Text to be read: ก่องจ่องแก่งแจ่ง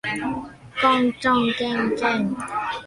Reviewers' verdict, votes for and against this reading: rejected, 1, 2